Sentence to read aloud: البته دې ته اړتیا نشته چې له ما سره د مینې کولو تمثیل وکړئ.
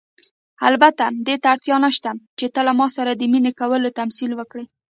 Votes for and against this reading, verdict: 0, 2, rejected